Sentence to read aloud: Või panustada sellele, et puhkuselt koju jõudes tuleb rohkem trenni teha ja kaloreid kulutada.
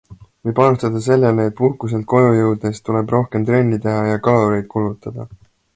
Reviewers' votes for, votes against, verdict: 2, 0, accepted